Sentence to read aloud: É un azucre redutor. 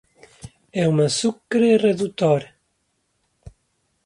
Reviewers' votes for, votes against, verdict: 2, 0, accepted